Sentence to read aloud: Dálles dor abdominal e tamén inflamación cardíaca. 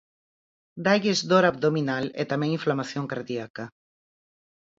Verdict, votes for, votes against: accepted, 4, 0